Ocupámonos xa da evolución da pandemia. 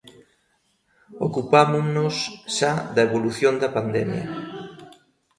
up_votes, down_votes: 2, 0